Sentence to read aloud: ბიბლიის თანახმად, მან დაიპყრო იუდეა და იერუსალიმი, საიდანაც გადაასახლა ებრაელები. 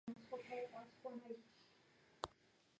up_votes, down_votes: 1, 2